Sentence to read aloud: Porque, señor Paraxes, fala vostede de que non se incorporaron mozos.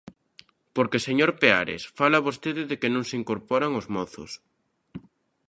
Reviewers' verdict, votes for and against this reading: rejected, 0, 2